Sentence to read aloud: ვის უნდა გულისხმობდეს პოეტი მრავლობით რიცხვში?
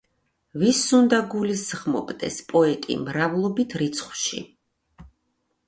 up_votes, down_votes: 2, 0